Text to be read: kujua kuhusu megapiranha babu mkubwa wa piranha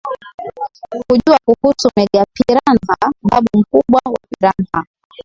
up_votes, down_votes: 0, 2